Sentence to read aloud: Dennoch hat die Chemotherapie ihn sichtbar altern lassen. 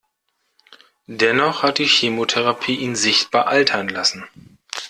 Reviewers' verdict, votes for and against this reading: accepted, 2, 0